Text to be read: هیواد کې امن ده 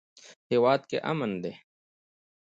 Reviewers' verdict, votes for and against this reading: accepted, 2, 0